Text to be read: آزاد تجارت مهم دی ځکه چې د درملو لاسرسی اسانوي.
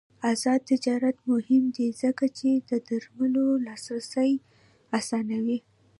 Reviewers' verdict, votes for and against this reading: rejected, 0, 2